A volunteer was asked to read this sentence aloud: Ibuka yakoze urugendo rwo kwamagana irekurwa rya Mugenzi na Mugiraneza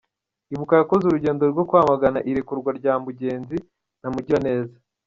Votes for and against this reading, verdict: 2, 0, accepted